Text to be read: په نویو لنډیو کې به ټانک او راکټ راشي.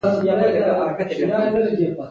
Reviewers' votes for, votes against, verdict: 2, 0, accepted